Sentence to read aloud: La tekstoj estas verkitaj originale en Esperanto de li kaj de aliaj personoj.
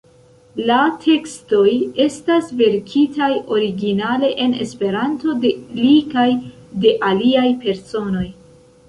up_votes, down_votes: 2, 0